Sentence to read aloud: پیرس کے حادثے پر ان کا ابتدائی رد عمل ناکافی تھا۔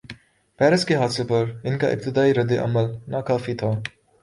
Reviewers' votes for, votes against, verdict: 3, 0, accepted